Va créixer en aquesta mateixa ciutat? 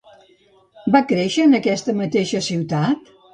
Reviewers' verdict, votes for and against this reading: accepted, 2, 0